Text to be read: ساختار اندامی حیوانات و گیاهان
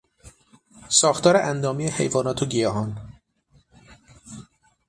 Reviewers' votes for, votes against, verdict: 9, 0, accepted